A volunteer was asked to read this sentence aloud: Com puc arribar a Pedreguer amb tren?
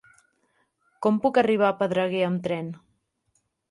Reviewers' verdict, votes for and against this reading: accepted, 4, 0